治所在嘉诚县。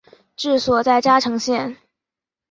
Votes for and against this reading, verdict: 2, 0, accepted